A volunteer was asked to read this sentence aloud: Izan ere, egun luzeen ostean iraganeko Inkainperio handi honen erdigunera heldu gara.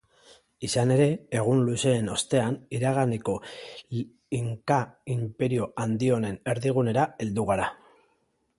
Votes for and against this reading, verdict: 2, 1, accepted